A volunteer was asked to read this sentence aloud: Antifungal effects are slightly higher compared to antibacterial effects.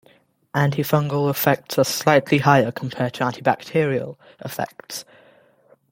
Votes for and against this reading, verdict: 2, 0, accepted